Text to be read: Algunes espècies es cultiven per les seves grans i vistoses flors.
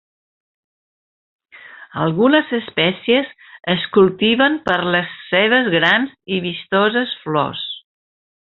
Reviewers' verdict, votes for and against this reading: accepted, 2, 1